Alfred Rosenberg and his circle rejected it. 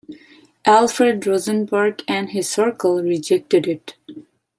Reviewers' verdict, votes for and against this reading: accepted, 2, 0